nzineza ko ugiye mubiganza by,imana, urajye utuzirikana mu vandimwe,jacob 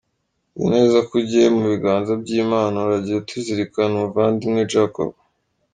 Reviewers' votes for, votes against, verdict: 1, 2, rejected